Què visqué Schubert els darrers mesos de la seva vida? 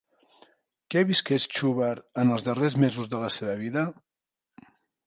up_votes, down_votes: 0, 2